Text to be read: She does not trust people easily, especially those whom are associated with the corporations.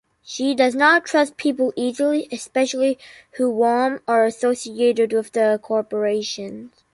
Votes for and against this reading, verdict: 0, 2, rejected